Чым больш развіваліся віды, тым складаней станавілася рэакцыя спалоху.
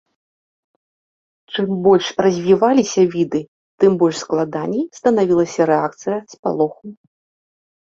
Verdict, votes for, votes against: rejected, 1, 2